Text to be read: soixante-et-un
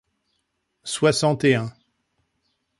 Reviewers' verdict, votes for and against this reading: accepted, 2, 0